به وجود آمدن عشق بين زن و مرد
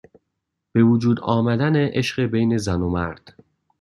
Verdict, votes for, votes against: accepted, 2, 0